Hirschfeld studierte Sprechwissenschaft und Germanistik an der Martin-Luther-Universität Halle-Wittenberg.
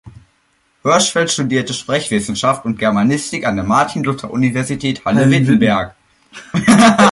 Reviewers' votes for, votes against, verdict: 1, 2, rejected